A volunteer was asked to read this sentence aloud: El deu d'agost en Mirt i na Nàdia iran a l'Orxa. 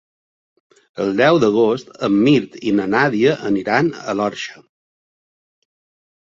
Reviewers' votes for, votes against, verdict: 1, 2, rejected